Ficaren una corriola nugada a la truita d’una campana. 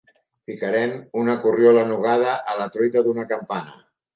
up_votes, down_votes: 2, 1